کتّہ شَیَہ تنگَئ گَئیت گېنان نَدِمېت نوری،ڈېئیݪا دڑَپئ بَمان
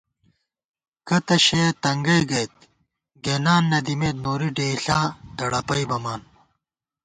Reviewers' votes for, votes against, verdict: 2, 0, accepted